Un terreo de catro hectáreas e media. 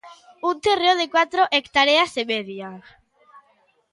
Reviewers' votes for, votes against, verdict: 0, 2, rejected